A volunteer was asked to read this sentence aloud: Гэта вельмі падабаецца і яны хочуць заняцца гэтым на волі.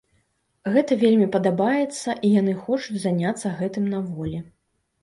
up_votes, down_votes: 2, 0